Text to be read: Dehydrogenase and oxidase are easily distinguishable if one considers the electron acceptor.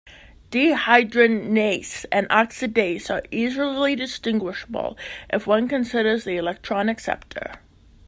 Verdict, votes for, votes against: rejected, 1, 3